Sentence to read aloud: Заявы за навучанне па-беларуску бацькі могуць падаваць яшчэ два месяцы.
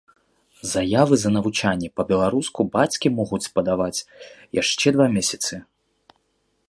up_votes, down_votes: 1, 2